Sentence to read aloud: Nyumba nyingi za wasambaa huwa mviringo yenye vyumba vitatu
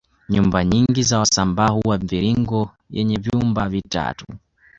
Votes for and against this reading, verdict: 1, 2, rejected